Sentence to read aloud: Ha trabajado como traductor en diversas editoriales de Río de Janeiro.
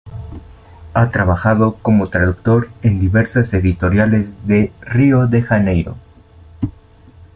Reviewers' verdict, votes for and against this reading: accepted, 2, 0